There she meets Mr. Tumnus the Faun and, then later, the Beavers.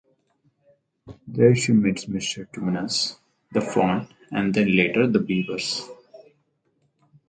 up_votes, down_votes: 2, 2